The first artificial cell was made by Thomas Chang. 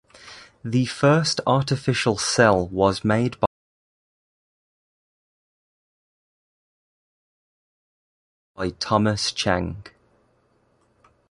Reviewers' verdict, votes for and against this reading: rejected, 0, 2